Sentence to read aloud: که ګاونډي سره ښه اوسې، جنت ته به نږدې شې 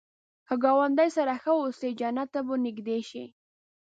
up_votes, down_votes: 2, 0